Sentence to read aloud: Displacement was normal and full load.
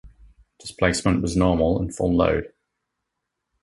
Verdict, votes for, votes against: accepted, 2, 0